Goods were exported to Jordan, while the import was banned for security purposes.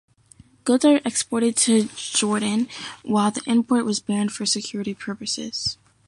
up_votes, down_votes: 1, 2